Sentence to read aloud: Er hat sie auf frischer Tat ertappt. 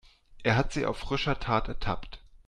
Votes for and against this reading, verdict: 2, 0, accepted